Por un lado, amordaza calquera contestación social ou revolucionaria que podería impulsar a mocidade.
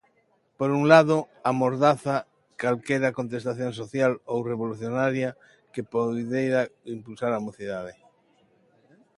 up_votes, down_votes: 0, 2